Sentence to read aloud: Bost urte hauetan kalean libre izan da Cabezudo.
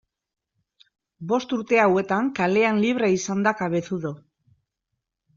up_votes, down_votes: 2, 0